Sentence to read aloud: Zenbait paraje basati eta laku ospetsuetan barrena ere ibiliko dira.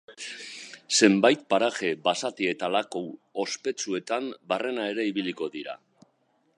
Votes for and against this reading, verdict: 2, 0, accepted